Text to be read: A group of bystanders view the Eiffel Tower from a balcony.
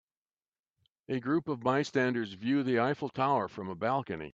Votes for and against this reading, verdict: 2, 0, accepted